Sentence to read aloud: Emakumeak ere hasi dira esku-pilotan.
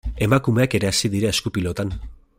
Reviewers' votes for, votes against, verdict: 2, 0, accepted